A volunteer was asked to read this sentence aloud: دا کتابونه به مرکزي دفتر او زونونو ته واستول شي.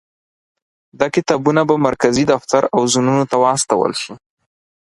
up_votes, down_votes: 4, 0